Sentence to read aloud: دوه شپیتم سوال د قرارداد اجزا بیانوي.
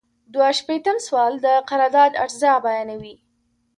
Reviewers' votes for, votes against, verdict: 2, 0, accepted